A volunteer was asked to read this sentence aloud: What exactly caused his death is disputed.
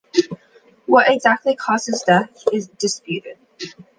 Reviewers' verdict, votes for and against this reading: accepted, 2, 0